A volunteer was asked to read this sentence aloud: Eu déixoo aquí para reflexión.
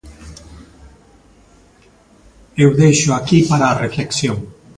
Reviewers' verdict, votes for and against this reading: accepted, 2, 0